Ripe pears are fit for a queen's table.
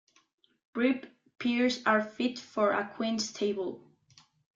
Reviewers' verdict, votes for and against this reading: rejected, 1, 2